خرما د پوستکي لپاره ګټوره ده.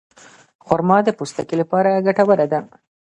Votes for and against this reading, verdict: 0, 2, rejected